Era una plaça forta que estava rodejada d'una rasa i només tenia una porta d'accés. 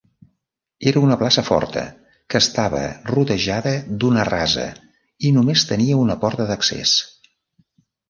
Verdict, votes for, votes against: accepted, 3, 0